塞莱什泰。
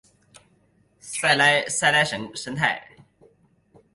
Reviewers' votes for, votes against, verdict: 2, 4, rejected